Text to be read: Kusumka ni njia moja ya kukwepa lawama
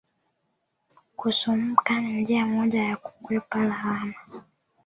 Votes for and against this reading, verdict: 0, 2, rejected